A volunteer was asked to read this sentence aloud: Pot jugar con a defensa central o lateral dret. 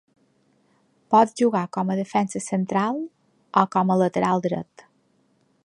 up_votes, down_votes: 1, 2